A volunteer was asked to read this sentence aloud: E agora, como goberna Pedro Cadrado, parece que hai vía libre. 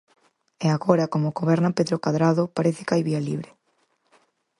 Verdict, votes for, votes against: accepted, 4, 0